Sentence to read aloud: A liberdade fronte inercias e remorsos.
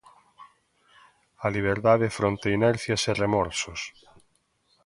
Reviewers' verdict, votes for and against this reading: accepted, 2, 0